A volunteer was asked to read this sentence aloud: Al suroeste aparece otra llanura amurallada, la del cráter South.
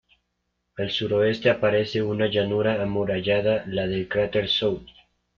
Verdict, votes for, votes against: rejected, 1, 2